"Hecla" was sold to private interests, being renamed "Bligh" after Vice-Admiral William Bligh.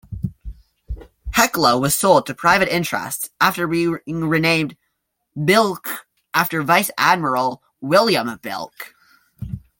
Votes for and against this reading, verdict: 0, 2, rejected